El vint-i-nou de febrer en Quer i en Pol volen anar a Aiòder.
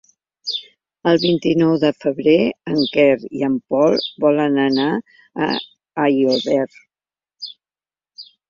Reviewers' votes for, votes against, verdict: 1, 2, rejected